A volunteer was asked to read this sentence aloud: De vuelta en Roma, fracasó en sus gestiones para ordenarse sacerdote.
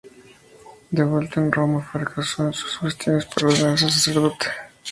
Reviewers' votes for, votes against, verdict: 2, 0, accepted